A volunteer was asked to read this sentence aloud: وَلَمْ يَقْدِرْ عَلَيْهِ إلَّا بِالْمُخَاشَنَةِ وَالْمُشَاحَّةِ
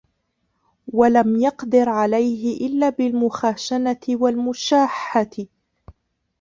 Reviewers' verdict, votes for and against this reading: rejected, 1, 2